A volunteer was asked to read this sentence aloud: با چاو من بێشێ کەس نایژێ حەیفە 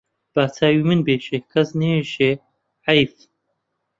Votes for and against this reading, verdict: 0, 2, rejected